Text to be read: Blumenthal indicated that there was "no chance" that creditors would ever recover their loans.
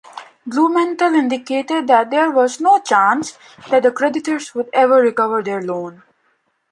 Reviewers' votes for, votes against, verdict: 0, 2, rejected